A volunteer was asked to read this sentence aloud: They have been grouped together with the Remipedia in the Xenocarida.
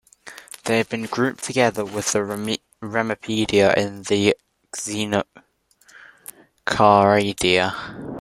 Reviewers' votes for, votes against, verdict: 0, 2, rejected